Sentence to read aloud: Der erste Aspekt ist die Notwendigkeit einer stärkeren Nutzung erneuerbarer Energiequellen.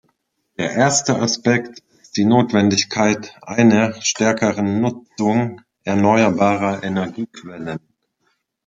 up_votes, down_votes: 1, 2